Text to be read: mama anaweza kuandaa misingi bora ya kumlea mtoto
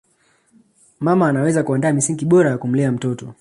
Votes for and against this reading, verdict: 2, 0, accepted